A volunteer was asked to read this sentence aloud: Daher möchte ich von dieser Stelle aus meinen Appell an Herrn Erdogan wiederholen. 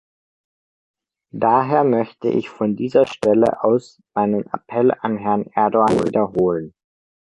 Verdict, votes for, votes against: rejected, 1, 2